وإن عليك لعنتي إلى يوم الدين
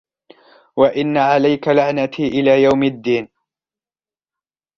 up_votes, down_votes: 2, 0